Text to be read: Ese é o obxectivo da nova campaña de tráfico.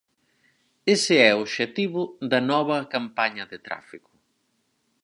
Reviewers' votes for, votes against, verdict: 4, 0, accepted